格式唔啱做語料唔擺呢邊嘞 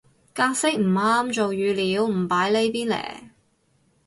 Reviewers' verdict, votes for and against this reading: accepted, 4, 0